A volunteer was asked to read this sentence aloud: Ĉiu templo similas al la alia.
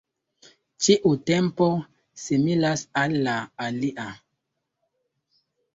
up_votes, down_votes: 2, 1